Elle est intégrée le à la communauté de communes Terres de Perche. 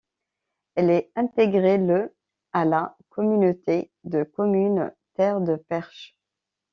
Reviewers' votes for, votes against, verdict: 2, 0, accepted